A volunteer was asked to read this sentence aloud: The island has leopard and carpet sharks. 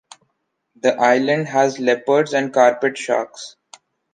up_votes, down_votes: 2, 0